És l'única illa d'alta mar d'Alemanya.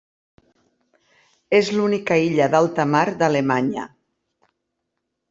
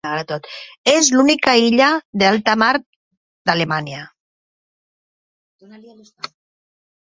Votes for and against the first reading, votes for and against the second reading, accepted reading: 3, 0, 0, 2, first